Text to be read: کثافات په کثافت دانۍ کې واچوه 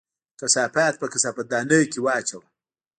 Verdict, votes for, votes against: rejected, 1, 2